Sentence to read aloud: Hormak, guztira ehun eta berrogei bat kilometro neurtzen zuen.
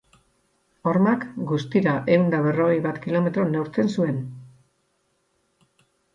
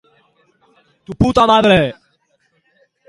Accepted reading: first